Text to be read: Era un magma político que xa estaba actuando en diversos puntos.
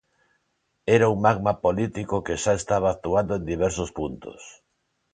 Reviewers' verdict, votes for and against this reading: accepted, 2, 0